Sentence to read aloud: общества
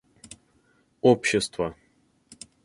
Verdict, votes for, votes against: accepted, 4, 0